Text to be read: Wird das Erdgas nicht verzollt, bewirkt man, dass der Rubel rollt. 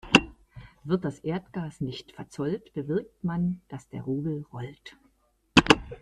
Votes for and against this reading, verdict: 2, 0, accepted